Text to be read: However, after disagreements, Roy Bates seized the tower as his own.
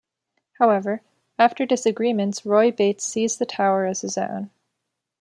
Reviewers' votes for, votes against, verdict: 2, 0, accepted